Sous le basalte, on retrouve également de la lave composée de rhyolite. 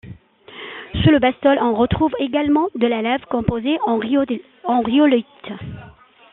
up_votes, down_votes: 0, 2